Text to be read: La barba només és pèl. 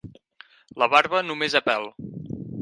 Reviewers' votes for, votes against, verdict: 2, 4, rejected